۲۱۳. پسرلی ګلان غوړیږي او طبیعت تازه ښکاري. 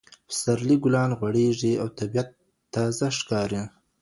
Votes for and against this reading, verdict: 0, 2, rejected